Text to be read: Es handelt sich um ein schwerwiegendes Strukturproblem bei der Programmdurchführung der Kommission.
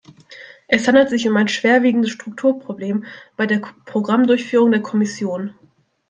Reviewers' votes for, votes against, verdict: 1, 2, rejected